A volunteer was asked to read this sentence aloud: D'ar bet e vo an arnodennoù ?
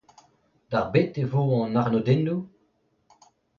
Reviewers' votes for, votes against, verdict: 2, 0, accepted